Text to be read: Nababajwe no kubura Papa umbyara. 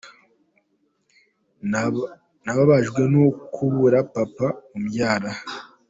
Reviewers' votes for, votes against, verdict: 2, 1, accepted